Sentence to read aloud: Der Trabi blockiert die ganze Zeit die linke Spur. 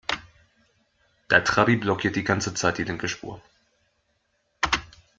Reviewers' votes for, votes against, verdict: 2, 0, accepted